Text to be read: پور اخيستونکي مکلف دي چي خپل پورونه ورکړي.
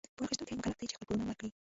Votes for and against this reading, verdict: 0, 2, rejected